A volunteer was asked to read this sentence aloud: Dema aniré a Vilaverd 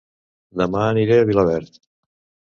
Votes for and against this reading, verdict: 2, 0, accepted